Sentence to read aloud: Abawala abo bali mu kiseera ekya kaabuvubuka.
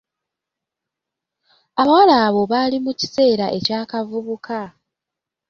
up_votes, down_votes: 2, 1